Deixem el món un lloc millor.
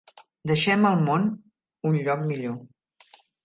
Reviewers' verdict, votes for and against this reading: accepted, 3, 0